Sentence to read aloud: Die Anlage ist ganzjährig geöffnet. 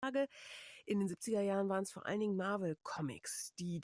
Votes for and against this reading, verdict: 0, 2, rejected